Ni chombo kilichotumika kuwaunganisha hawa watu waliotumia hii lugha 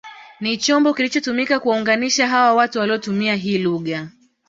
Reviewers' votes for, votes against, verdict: 2, 0, accepted